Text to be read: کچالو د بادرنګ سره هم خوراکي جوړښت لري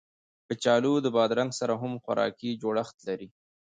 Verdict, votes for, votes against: rejected, 0, 2